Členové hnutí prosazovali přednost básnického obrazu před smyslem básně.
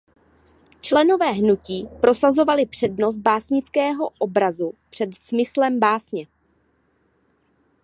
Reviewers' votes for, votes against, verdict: 2, 0, accepted